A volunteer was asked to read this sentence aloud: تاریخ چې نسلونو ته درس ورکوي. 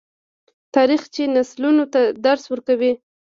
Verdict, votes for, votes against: accepted, 2, 0